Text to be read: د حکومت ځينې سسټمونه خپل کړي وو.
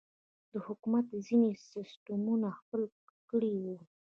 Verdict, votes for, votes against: accepted, 2, 0